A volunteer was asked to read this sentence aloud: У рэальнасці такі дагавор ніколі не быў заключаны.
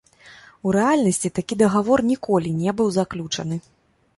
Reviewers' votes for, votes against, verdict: 0, 2, rejected